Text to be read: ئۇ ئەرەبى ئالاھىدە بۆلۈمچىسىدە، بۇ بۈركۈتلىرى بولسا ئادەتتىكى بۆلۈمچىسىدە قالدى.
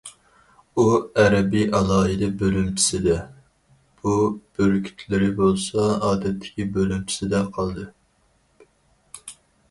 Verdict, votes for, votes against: rejected, 2, 2